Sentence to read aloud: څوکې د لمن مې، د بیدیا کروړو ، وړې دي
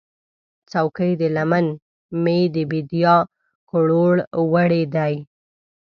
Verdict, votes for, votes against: rejected, 0, 2